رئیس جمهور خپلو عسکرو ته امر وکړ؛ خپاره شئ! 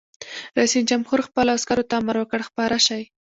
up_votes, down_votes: 1, 2